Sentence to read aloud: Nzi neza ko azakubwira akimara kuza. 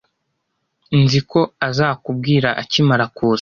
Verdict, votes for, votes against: rejected, 1, 2